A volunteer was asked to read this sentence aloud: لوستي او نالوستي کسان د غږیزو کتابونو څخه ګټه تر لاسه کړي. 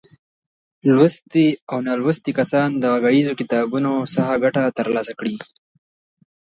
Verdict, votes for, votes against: accepted, 2, 0